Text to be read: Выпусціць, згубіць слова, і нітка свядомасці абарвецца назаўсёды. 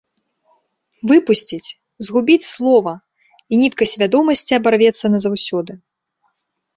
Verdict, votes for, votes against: accepted, 2, 0